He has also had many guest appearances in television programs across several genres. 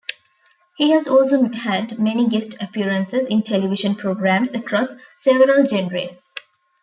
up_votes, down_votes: 0, 2